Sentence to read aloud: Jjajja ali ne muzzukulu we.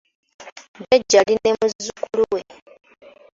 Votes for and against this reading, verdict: 2, 1, accepted